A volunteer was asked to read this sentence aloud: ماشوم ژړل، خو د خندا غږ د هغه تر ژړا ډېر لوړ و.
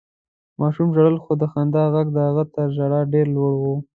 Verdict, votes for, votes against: accepted, 2, 0